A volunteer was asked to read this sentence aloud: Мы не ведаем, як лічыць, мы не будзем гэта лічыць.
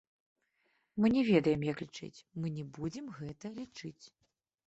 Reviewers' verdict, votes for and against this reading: rejected, 0, 2